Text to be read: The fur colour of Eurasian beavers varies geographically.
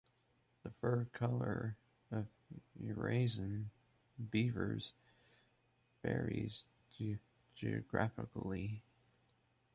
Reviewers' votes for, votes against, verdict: 0, 2, rejected